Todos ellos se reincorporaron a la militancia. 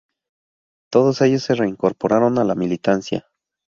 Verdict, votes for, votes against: accepted, 4, 0